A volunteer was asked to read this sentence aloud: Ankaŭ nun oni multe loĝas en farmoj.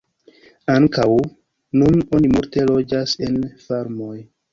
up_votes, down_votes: 1, 2